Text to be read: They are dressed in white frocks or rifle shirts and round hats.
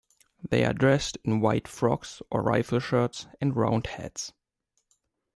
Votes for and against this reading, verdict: 2, 0, accepted